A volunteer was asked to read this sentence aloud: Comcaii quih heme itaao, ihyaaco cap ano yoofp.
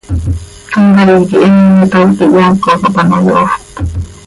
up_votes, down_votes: 1, 2